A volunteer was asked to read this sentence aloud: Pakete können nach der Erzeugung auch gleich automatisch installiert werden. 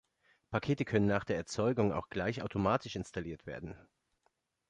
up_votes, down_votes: 2, 0